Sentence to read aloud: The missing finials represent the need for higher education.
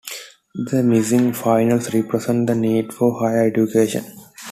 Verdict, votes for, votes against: accepted, 2, 1